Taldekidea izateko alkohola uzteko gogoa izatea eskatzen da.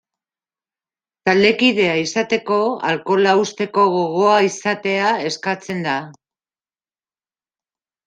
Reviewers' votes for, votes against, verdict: 2, 0, accepted